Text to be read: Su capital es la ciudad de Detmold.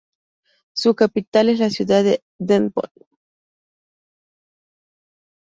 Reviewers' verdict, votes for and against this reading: rejected, 0, 2